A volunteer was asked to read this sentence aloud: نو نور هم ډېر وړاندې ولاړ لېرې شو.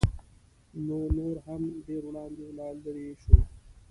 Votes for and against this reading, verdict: 1, 2, rejected